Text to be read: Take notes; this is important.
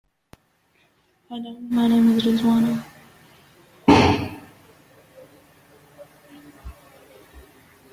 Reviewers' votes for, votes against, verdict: 0, 2, rejected